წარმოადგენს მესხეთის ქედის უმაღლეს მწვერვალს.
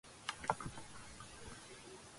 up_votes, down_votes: 0, 2